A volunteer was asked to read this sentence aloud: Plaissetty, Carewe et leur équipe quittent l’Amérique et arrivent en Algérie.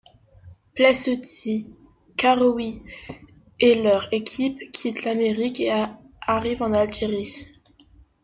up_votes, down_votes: 0, 2